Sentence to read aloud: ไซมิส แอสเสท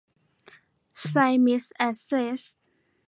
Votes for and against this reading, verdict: 2, 1, accepted